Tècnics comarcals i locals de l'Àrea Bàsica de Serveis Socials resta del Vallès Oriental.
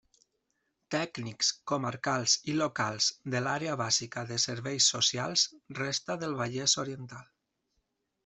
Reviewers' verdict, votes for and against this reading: accepted, 2, 0